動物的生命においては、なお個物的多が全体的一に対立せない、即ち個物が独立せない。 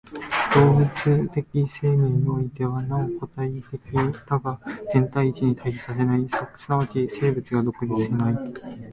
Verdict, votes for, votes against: rejected, 0, 2